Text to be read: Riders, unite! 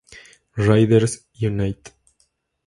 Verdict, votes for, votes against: accepted, 2, 0